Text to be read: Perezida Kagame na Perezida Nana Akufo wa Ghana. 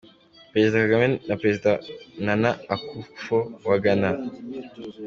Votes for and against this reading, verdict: 3, 0, accepted